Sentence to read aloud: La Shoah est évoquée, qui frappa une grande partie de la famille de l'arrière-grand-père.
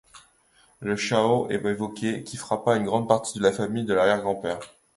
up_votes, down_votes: 0, 2